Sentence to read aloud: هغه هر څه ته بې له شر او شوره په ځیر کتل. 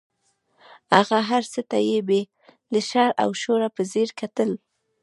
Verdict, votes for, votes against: rejected, 0, 2